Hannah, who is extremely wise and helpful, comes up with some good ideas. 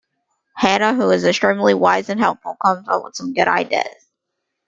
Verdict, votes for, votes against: rejected, 0, 2